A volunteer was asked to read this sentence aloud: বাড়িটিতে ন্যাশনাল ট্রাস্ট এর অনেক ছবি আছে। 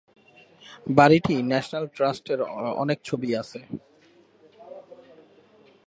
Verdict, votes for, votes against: rejected, 2, 5